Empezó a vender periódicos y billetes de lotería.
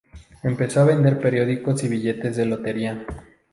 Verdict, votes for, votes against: accepted, 2, 0